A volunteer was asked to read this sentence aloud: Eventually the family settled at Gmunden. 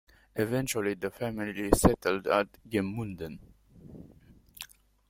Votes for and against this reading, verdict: 2, 0, accepted